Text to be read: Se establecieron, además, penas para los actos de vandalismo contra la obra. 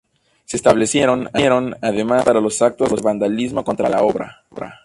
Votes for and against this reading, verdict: 0, 2, rejected